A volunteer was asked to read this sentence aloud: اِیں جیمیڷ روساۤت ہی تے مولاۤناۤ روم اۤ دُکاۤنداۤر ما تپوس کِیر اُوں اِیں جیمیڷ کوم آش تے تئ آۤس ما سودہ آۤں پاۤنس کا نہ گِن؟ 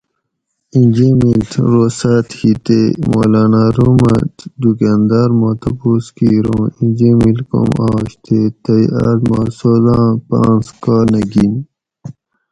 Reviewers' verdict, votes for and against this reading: accepted, 4, 0